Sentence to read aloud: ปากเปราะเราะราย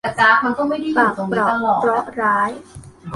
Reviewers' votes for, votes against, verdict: 0, 2, rejected